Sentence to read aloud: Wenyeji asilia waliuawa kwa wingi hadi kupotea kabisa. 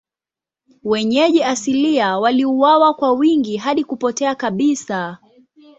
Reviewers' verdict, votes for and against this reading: rejected, 1, 2